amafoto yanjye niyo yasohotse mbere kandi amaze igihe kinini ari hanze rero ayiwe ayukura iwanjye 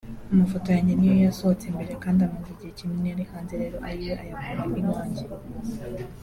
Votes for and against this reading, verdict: 0, 2, rejected